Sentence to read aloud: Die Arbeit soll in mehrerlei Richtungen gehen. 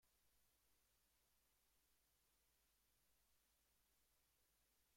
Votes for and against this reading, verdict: 0, 3, rejected